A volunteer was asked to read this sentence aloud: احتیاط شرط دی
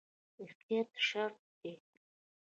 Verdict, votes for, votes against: accepted, 2, 0